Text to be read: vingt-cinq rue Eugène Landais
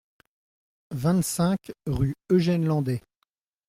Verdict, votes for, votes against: accepted, 2, 0